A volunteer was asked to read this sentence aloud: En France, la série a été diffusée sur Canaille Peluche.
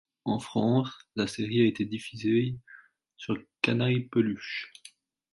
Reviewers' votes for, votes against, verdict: 2, 1, accepted